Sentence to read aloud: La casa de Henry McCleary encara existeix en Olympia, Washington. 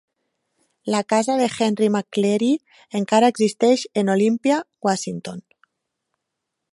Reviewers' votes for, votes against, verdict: 2, 0, accepted